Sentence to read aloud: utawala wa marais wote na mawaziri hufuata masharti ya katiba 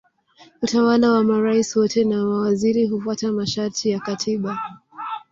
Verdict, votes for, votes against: accepted, 3, 1